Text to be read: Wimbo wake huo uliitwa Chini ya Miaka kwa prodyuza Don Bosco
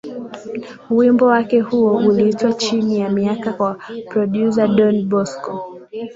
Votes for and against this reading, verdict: 4, 0, accepted